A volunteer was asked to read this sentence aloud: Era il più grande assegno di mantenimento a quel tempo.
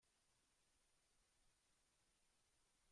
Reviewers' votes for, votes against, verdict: 0, 2, rejected